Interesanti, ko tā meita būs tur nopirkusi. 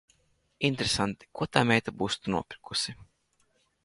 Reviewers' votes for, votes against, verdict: 0, 2, rejected